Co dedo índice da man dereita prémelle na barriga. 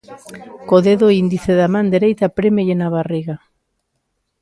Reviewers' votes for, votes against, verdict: 2, 0, accepted